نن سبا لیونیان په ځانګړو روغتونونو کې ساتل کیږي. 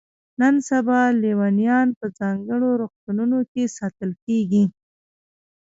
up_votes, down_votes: 0, 2